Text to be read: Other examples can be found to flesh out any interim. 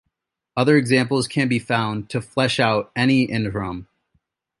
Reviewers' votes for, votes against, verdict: 2, 0, accepted